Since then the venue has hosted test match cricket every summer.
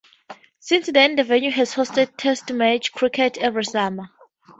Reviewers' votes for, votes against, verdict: 2, 0, accepted